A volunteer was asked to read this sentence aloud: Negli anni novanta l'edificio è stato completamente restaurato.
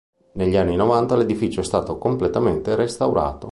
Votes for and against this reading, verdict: 2, 0, accepted